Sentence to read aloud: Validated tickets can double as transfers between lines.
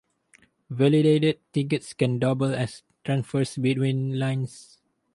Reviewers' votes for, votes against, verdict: 0, 2, rejected